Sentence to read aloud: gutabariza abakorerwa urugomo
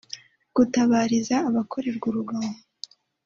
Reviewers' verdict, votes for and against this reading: accepted, 2, 0